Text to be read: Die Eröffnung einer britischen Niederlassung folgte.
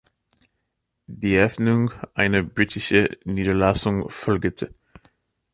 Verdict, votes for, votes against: rejected, 0, 2